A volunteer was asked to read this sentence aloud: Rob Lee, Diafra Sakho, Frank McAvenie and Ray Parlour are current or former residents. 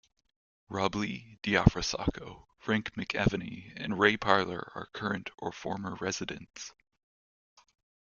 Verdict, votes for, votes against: accepted, 2, 0